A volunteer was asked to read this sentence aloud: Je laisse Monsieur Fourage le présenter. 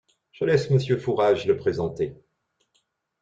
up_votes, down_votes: 2, 0